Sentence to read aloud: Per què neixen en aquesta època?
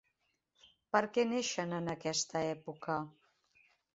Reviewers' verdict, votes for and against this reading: accepted, 3, 0